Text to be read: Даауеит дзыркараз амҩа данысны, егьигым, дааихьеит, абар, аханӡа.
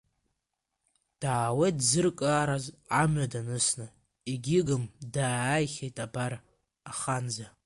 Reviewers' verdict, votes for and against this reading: rejected, 0, 2